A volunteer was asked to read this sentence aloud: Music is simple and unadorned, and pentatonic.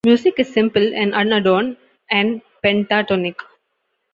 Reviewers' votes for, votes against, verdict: 2, 0, accepted